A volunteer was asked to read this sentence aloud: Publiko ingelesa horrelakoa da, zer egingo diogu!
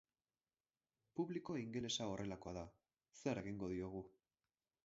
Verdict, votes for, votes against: rejected, 4, 4